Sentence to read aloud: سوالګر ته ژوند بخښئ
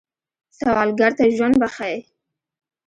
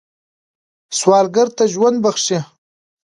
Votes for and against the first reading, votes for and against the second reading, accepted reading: 1, 2, 2, 1, second